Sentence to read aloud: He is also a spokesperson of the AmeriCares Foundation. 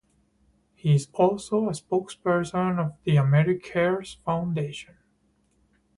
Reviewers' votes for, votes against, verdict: 4, 0, accepted